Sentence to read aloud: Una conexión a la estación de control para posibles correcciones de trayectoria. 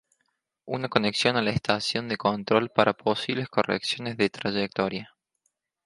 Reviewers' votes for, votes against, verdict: 2, 0, accepted